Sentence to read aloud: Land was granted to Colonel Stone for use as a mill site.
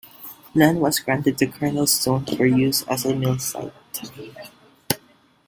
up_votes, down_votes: 2, 0